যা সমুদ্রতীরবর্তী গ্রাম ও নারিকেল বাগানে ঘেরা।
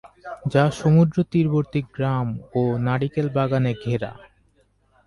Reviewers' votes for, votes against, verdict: 2, 2, rejected